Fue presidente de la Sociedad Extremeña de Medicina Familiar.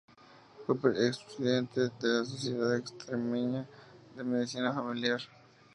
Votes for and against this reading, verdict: 0, 2, rejected